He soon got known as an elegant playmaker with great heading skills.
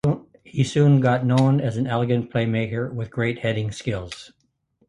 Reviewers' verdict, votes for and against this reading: accepted, 2, 0